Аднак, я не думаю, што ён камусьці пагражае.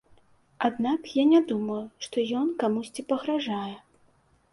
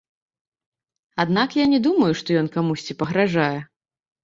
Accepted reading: first